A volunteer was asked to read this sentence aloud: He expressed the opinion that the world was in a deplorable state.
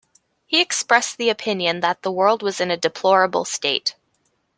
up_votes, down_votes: 2, 0